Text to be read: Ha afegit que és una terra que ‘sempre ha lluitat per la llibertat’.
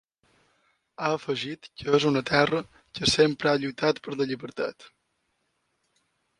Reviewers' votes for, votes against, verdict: 2, 1, accepted